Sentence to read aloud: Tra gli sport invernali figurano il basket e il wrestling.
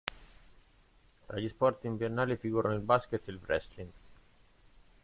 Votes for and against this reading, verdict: 0, 2, rejected